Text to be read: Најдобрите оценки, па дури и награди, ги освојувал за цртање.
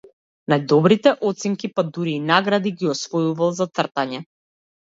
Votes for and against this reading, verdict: 1, 2, rejected